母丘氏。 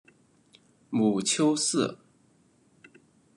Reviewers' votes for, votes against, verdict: 0, 2, rejected